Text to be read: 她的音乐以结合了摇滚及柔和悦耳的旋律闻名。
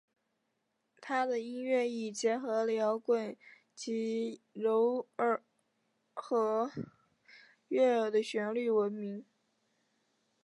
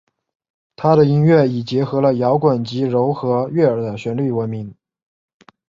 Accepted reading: second